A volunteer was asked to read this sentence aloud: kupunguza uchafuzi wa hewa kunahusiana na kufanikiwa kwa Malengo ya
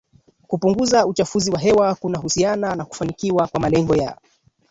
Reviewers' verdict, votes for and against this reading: rejected, 0, 2